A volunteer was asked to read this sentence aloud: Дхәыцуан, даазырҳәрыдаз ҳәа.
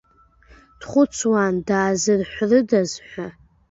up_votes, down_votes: 1, 2